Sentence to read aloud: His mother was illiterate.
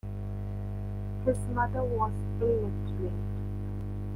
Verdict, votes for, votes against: accepted, 2, 0